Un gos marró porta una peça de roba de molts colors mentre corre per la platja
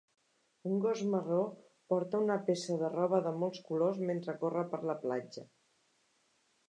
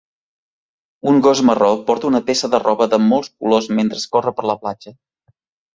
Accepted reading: first